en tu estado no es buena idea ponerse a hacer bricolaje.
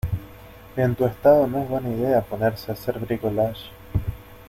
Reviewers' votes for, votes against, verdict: 0, 2, rejected